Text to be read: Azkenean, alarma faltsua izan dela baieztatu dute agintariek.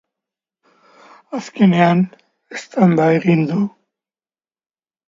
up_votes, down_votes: 0, 2